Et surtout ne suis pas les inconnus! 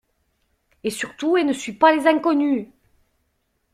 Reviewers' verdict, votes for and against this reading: rejected, 1, 2